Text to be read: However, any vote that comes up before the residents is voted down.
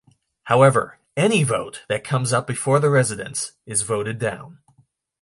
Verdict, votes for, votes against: accepted, 2, 0